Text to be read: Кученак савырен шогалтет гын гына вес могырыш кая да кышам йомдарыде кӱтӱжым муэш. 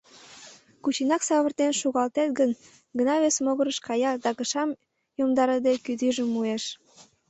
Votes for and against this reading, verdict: 1, 2, rejected